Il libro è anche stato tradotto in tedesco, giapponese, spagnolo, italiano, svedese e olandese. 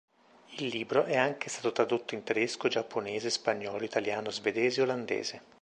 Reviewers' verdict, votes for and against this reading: accepted, 2, 0